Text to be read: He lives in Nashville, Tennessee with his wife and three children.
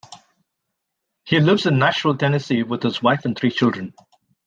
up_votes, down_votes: 2, 0